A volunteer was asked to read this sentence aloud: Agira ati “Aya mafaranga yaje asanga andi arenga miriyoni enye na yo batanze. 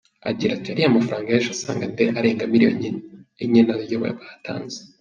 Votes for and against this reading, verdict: 0, 2, rejected